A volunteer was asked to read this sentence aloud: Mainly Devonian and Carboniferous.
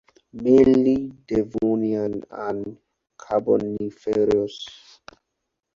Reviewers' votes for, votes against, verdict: 4, 0, accepted